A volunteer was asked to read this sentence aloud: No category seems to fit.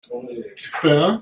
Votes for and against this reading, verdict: 0, 2, rejected